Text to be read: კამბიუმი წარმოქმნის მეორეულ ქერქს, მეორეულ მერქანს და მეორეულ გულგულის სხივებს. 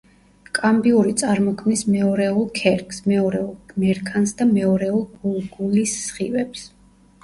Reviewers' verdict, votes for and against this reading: rejected, 1, 2